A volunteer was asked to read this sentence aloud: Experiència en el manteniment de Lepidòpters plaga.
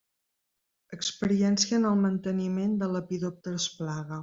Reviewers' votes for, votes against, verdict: 2, 0, accepted